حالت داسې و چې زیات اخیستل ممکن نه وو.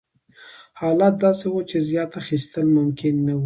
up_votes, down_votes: 2, 0